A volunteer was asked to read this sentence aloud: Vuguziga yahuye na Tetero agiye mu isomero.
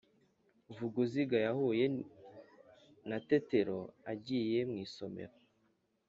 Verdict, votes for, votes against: accepted, 2, 0